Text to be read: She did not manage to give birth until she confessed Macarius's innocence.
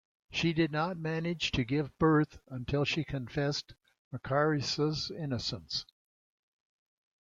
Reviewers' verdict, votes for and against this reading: accepted, 2, 1